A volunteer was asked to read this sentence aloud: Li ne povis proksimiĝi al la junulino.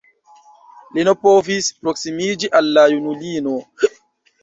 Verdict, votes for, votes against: rejected, 1, 2